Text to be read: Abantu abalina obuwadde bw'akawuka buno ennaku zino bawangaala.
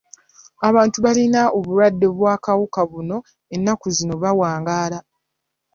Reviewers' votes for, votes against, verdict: 1, 2, rejected